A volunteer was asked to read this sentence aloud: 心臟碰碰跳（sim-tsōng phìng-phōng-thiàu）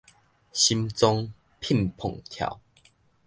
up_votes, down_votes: 0, 2